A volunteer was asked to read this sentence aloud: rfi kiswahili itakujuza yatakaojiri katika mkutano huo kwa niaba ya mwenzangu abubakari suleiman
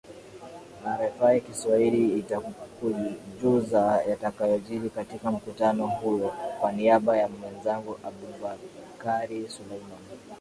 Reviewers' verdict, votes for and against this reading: accepted, 2, 0